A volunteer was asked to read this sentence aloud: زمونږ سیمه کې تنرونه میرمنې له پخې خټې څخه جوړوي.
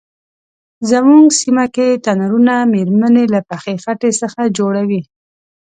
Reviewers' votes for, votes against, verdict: 2, 0, accepted